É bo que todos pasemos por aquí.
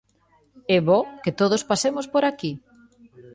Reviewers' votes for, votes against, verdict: 2, 0, accepted